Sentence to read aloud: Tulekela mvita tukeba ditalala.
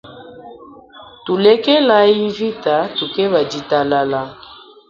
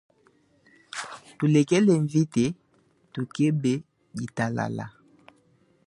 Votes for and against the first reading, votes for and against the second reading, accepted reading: 1, 2, 3, 0, second